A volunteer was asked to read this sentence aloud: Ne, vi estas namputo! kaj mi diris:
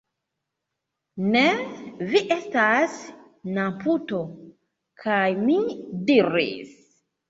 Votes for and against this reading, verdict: 2, 0, accepted